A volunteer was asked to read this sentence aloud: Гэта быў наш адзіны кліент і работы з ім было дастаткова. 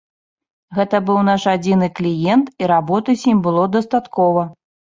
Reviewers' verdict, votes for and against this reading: accepted, 2, 0